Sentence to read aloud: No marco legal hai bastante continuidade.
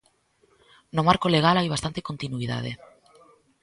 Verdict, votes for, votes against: accepted, 2, 0